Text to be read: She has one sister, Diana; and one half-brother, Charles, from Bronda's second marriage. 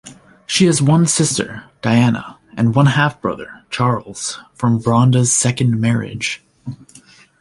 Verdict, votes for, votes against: accepted, 2, 0